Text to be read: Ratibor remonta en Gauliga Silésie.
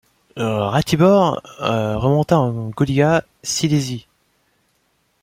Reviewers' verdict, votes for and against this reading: accepted, 2, 0